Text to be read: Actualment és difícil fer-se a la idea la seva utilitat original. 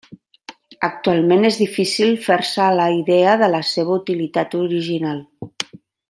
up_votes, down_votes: 1, 2